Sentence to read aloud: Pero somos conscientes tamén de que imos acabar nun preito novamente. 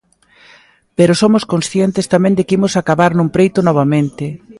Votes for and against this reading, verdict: 2, 0, accepted